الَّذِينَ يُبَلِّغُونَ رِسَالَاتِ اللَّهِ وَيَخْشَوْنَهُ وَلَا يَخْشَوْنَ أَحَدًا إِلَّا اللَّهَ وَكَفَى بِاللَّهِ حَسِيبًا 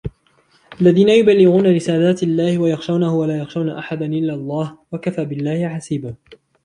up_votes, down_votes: 0, 2